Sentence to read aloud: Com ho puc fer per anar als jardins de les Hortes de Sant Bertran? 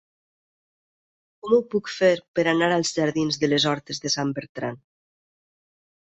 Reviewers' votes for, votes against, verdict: 4, 0, accepted